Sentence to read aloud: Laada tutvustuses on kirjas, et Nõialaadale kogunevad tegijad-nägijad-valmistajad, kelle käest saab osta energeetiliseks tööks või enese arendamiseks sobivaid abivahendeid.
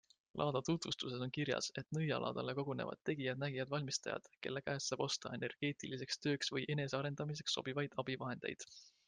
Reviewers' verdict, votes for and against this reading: accepted, 2, 0